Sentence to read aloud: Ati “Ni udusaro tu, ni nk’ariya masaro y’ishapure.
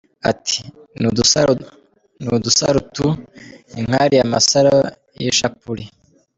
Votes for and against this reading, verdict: 0, 2, rejected